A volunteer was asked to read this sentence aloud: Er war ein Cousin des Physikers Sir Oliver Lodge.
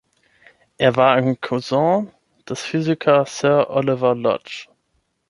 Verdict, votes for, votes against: accepted, 9, 0